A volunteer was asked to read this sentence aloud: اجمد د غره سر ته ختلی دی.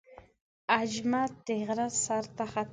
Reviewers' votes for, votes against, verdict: 0, 2, rejected